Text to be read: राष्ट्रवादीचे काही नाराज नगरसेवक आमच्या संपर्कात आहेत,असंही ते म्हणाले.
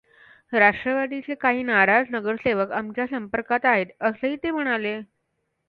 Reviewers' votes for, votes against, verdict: 3, 0, accepted